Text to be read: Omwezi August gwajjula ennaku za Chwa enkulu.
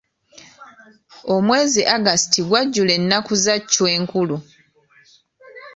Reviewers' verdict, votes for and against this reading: accepted, 2, 0